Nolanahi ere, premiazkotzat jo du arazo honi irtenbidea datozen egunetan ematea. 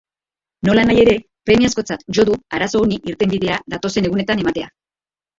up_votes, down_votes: 1, 3